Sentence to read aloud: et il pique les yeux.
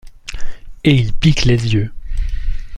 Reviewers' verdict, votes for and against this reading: accepted, 2, 0